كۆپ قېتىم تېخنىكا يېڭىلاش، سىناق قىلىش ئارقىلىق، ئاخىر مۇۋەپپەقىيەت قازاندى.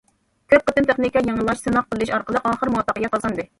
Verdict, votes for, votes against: rejected, 1, 2